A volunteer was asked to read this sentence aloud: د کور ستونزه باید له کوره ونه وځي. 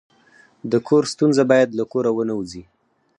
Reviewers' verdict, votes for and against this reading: rejected, 2, 4